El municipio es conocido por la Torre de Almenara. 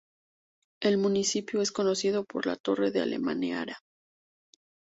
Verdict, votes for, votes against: rejected, 0, 2